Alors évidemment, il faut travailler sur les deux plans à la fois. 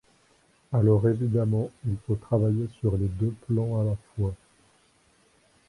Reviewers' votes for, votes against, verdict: 0, 2, rejected